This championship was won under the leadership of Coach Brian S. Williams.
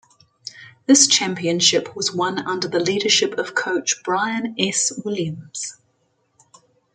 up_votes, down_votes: 2, 0